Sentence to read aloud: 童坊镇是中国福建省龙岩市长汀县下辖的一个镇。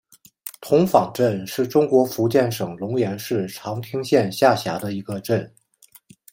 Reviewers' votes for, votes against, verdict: 2, 1, accepted